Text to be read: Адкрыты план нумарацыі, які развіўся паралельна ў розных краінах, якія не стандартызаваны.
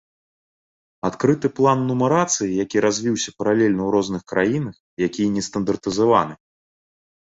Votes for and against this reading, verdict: 2, 0, accepted